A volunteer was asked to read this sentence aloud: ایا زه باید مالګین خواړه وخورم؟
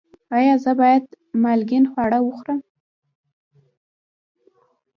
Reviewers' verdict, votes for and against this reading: accepted, 2, 1